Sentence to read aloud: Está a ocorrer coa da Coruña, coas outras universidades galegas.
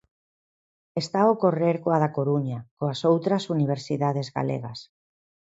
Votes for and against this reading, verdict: 4, 0, accepted